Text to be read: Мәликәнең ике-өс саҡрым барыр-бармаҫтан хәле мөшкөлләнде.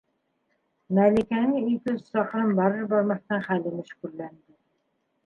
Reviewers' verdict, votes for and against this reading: rejected, 0, 2